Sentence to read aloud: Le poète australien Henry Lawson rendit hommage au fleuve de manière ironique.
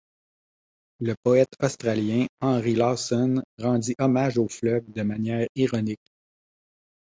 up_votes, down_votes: 2, 1